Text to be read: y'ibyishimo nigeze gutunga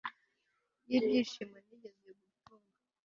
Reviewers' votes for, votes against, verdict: 1, 2, rejected